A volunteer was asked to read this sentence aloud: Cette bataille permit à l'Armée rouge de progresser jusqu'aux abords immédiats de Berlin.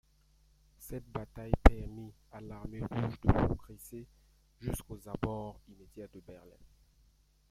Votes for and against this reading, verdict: 2, 1, accepted